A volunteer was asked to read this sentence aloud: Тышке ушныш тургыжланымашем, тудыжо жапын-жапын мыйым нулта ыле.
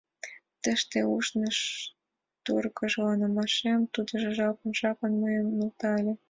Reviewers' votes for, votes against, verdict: 1, 2, rejected